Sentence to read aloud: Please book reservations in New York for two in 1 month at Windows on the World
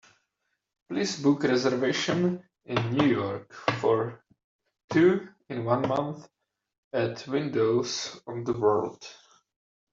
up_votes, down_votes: 0, 2